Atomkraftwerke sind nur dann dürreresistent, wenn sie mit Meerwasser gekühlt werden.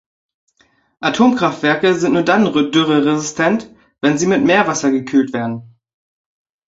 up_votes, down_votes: 2, 3